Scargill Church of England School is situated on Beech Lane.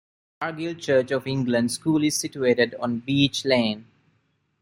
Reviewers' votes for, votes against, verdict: 0, 2, rejected